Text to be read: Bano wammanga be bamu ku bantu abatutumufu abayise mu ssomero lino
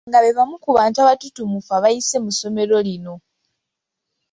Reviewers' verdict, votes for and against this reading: rejected, 0, 2